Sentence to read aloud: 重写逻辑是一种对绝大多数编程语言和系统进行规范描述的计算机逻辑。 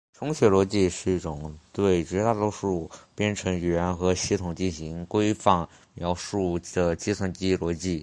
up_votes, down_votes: 3, 0